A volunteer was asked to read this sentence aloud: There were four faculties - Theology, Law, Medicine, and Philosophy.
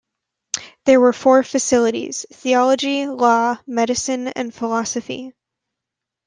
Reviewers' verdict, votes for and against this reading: rejected, 1, 2